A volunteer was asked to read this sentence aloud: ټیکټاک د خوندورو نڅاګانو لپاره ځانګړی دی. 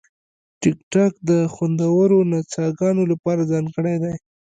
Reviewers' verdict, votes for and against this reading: accepted, 2, 0